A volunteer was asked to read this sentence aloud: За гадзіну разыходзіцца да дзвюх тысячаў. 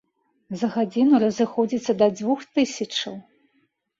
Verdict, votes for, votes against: accepted, 2, 0